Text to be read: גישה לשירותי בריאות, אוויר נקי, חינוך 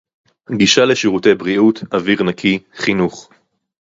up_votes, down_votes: 2, 0